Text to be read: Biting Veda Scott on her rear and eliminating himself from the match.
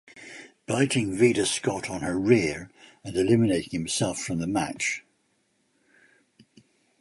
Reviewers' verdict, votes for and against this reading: accepted, 2, 1